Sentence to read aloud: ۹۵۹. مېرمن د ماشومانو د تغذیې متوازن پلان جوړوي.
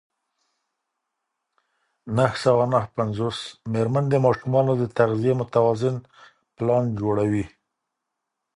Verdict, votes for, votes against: rejected, 0, 2